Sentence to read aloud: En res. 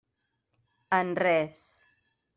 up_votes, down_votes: 3, 0